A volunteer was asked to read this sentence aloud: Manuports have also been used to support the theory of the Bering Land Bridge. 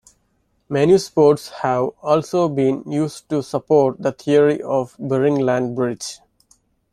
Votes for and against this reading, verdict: 0, 2, rejected